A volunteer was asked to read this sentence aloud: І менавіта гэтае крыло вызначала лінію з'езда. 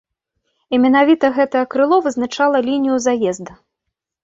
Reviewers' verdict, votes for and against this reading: rejected, 1, 2